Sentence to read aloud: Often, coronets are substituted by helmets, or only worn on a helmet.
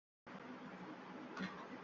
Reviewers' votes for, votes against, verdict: 0, 2, rejected